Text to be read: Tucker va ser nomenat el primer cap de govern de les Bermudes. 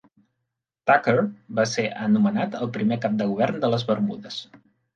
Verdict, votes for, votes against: rejected, 0, 2